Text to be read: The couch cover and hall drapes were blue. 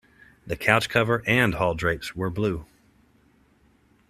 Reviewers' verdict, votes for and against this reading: rejected, 0, 2